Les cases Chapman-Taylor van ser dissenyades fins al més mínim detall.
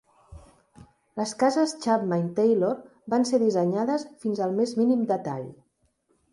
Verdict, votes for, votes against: accepted, 2, 0